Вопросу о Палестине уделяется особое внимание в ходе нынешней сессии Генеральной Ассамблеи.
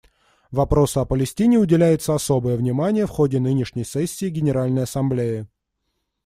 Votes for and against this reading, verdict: 2, 0, accepted